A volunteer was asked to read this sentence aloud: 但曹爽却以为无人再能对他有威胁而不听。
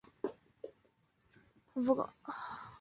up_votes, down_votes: 1, 2